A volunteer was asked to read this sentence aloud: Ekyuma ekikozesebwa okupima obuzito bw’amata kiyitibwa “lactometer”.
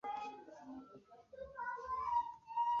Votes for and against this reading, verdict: 0, 2, rejected